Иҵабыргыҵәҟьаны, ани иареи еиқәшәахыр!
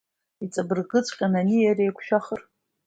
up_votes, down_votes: 2, 0